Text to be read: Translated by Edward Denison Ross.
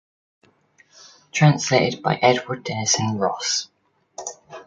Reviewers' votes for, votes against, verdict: 2, 0, accepted